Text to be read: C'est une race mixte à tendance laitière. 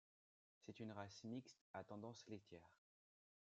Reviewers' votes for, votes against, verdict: 2, 0, accepted